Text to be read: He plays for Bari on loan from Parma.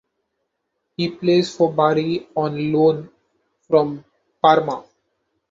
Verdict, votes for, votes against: accepted, 2, 0